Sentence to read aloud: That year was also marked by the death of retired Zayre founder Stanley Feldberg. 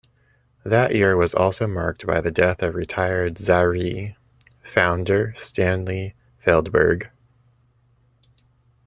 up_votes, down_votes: 0, 2